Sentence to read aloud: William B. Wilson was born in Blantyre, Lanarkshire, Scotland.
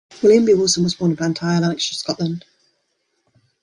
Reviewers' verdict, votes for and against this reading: rejected, 0, 2